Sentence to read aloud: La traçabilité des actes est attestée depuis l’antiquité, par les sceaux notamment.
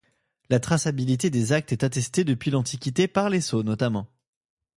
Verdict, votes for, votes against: accepted, 2, 0